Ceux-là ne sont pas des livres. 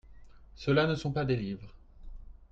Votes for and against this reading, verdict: 2, 0, accepted